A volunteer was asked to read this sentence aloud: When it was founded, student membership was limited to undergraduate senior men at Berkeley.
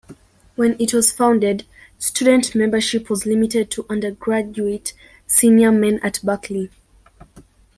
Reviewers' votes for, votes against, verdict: 2, 0, accepted